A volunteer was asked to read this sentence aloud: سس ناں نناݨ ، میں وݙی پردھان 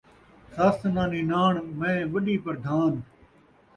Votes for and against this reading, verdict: 2, 0, accepted